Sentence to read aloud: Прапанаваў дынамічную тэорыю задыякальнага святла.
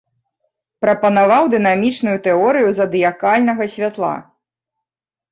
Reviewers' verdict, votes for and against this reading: accepted, 2, 0